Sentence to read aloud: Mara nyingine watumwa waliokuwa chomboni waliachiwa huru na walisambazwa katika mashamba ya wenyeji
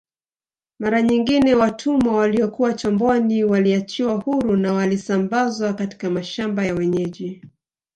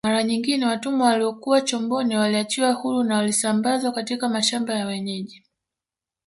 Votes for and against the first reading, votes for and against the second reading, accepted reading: 3, 0, 2, 3, first